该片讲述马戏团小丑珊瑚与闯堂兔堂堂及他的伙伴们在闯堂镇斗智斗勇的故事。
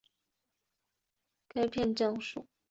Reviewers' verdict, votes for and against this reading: rejected, 0, 3